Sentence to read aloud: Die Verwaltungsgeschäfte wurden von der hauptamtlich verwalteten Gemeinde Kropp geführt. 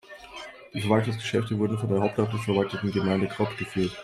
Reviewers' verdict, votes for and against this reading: rejected, 1, 2